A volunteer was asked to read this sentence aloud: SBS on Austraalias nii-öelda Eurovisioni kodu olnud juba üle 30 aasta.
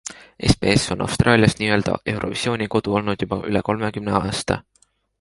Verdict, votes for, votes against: rejected, 0, 2